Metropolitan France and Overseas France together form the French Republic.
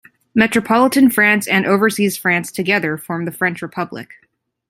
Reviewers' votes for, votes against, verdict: 2, 0, accepted